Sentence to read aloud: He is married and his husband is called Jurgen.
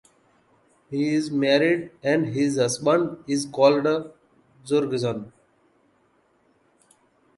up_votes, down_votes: 2, 0